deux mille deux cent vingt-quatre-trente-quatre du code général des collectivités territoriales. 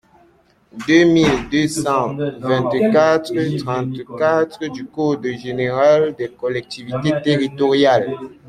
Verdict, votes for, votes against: accepted, 2, 0